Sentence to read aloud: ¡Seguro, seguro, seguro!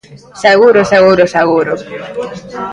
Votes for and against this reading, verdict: 0, 2, rejected